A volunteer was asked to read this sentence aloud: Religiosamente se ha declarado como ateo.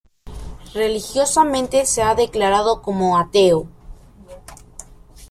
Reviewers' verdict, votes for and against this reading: accepted, 2, 1